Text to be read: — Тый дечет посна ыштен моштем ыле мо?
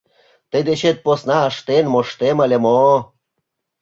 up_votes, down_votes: 2, 0